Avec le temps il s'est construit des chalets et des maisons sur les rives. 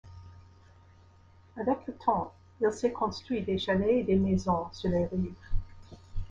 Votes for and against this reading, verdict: 0, 2, rejected